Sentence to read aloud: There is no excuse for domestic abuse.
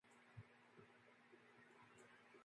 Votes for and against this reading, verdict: 0, 2, rejected